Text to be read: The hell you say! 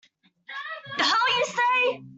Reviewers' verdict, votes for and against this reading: rejected, 0, 2